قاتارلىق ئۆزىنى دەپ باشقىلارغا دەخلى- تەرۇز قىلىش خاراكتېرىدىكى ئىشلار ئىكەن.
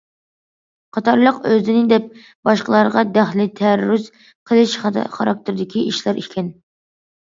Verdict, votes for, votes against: rejected, 0, 2